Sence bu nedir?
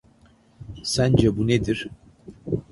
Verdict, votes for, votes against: accepted, 2, 0